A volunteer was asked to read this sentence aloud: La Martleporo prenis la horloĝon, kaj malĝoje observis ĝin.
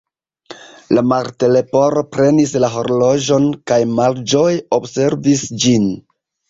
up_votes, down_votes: 2, 1